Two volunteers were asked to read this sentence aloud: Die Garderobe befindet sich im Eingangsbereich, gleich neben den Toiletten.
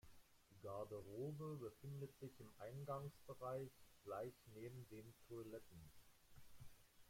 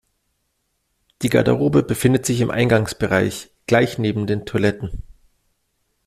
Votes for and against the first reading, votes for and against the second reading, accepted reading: 1, 2, 2, 0, second